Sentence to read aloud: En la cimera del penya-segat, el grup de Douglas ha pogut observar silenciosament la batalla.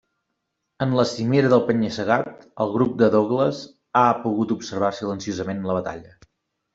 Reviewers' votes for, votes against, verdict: 2, 0, accepted